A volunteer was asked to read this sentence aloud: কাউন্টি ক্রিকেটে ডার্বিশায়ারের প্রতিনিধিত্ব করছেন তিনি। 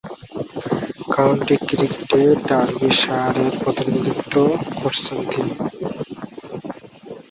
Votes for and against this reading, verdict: 2, 6, rejected